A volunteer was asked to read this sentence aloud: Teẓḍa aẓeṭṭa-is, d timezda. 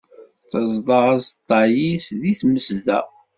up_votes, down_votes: 0, 2